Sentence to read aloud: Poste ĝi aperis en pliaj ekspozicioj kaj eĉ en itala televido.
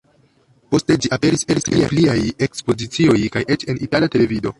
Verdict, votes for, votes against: rejected, 0, 2